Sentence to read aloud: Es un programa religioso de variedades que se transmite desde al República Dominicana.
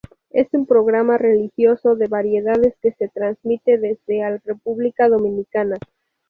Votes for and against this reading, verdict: 4, 0, accepted